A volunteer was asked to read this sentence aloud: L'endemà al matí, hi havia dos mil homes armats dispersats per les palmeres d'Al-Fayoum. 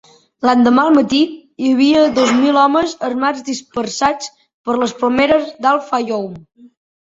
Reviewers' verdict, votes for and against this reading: accepted, 2, 0